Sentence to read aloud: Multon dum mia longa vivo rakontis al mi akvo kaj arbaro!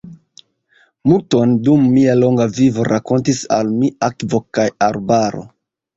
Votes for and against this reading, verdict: 2, 1, accepted